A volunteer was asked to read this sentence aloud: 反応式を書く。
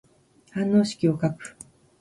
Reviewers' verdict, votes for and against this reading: accepted, 2, 0